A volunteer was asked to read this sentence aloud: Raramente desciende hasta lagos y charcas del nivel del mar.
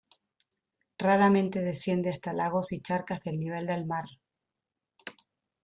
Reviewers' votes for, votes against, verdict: 2, 0, accepted